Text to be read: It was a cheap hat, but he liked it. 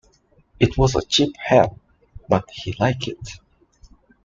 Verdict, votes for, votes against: rejected, 0, 2